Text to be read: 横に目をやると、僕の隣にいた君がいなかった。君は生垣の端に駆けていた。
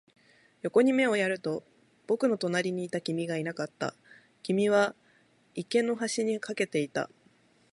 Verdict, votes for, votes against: accepted, 2, 0